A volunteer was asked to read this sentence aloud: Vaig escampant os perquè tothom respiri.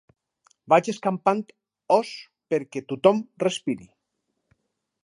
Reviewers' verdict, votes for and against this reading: accepted, 4, 0